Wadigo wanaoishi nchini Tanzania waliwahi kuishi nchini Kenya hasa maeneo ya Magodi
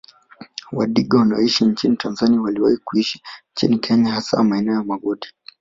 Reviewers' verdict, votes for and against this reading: accepted, 3, 1